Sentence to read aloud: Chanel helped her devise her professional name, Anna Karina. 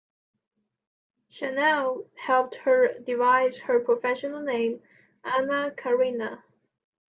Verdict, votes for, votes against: accepted, 2, 0